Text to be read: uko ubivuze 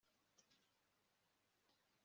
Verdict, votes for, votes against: rejected, 1, 3